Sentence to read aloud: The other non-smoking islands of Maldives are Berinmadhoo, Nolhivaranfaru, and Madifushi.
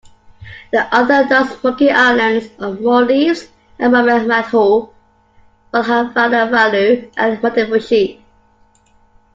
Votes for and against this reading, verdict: 0, 2, rejected